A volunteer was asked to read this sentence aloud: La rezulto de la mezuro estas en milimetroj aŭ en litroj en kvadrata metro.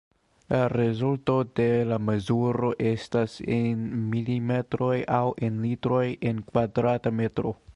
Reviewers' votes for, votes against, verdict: 2, 1, accepted